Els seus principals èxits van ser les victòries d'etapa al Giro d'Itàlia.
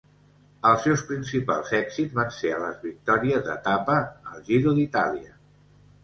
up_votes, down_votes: 2, 1